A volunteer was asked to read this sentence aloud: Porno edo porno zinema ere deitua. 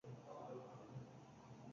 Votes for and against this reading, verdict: 0, 4, rejected